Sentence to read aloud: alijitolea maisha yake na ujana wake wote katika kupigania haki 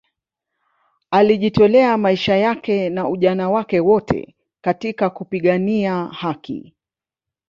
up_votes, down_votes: 0, 2